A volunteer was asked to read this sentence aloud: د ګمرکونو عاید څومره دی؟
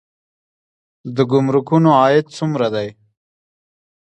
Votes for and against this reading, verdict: 1, 2, rejected